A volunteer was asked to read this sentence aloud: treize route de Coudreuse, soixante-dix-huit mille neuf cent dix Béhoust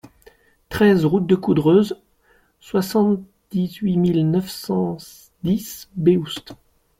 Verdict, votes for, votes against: rejected, 0, 2